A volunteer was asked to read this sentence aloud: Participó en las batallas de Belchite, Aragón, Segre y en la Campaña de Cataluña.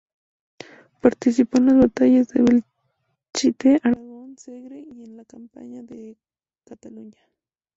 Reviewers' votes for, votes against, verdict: 0, 4, rejected